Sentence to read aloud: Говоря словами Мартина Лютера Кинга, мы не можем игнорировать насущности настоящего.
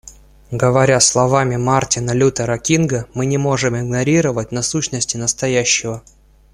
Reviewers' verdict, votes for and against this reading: accepted, 2, 0